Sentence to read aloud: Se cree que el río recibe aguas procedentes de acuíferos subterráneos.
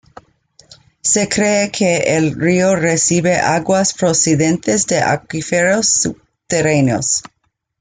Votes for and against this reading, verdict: 2, 1, accepted